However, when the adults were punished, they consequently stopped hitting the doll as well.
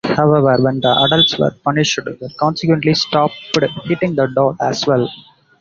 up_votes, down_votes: 0, 2